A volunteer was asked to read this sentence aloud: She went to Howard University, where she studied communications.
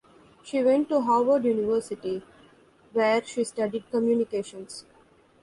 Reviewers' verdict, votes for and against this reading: accepted, 2, 0